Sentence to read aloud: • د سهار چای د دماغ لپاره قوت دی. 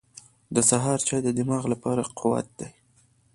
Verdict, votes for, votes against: accepted, 2, 1